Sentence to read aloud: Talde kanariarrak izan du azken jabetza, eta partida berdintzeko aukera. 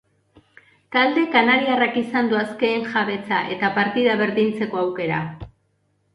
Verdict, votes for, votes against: accepted, 2, 0